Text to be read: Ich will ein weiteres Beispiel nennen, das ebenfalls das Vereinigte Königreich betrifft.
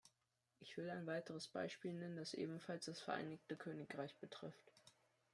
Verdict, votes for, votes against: accepted, 2, 0